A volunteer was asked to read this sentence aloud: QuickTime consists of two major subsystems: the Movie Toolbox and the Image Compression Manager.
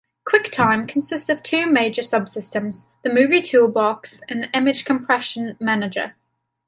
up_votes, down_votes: 2, 0